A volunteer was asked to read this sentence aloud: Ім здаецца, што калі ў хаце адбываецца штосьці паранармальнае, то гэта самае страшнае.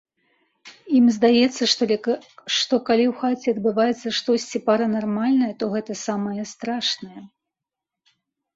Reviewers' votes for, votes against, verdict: 1, 2, rejected